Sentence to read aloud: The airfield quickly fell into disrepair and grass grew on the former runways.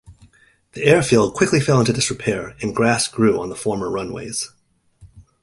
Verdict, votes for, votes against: accepted, 2, 0